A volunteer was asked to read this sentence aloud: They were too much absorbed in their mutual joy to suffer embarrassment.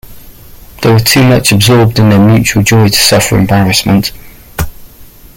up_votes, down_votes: 0, 2